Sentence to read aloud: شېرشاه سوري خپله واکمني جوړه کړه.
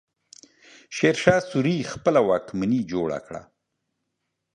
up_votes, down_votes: 2, 1